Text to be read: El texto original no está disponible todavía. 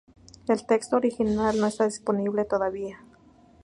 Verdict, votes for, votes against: accepted, 2, 0